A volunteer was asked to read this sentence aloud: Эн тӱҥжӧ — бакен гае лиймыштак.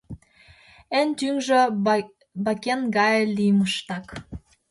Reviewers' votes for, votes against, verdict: 1, 2, rejected